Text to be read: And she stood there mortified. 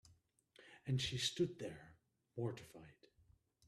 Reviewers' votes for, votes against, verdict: 0, 2, rejected